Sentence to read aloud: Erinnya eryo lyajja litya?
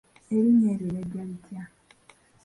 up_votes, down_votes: 1, 2